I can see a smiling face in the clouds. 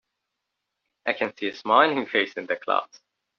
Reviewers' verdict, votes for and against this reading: accepted, 2, 0